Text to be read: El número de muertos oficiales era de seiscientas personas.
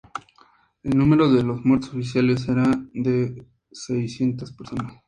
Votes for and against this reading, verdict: 4, 0, accepted